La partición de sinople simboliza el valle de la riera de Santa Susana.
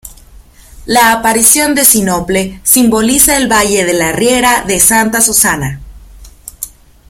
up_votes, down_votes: 0, 2